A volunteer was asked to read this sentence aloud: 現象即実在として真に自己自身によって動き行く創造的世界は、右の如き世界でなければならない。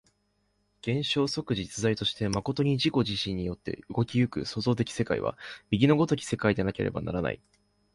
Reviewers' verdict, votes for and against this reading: accepted, 3, 0